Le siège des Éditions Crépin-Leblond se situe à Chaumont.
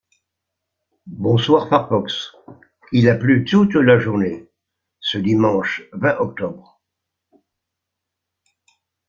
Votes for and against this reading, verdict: 0, 2, rejected